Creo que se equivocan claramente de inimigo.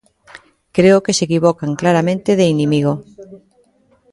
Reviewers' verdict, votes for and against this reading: rejected, 1, 2